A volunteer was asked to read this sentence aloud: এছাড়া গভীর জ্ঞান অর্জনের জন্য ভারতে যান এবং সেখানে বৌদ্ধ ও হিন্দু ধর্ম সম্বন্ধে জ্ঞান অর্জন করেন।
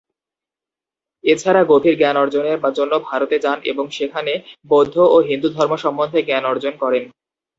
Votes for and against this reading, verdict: 0, 2, rejected